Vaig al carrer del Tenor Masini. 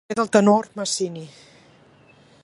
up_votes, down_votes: 0, 2